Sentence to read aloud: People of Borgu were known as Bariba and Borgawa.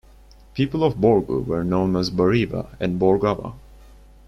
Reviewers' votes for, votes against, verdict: 2, 0, accepted